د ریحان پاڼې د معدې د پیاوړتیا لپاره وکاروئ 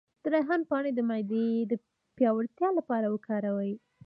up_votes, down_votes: 0, 2